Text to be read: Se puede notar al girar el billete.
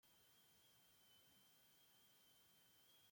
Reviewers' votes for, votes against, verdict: 0, 2, rejected